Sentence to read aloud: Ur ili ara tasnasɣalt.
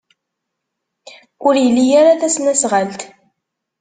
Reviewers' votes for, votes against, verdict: 2, 0, accepted